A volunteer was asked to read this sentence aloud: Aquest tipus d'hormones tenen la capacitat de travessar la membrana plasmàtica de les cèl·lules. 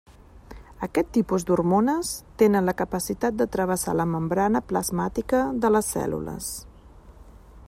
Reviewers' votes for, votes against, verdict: 3, 0, accepted